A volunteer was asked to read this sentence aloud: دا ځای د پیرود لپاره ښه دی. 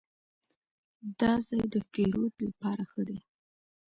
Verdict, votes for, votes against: accepted, 2, 0